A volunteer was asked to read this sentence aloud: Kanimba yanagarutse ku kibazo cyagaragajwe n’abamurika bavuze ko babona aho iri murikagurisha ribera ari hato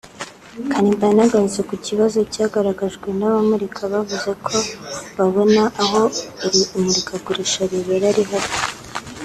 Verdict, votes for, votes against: accepted, 2, 0